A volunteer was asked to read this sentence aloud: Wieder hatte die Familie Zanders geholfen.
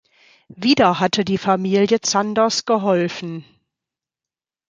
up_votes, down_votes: 2, 0